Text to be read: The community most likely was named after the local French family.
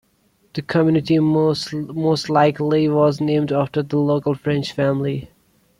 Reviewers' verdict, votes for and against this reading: rejected, 0, 2